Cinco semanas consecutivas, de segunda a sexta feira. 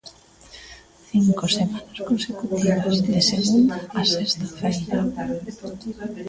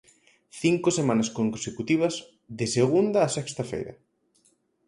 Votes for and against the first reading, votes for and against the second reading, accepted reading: 0, 2, 4, 0, second